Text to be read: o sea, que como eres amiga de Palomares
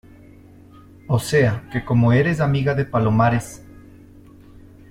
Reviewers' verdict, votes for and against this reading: accepted, 2, 0